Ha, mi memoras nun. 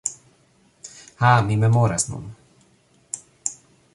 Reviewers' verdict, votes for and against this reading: accepted, 2, 1